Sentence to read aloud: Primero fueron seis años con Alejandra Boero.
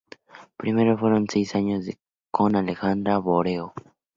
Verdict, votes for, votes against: rejected, 0, 2